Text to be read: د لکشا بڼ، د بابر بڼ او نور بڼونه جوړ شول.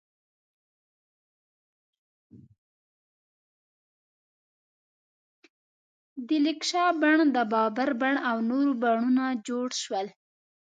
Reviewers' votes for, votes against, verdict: 1, 2, rejected